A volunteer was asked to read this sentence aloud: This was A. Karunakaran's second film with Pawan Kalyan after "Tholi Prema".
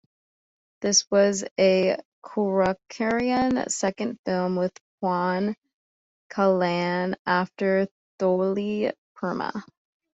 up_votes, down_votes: 0, 2